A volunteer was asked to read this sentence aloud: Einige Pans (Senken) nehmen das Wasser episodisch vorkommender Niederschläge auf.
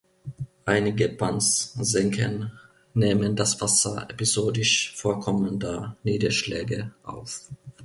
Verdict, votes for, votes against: accepted, 2, 1